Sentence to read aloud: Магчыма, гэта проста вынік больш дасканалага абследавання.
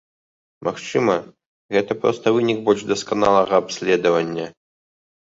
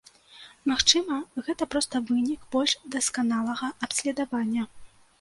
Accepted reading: first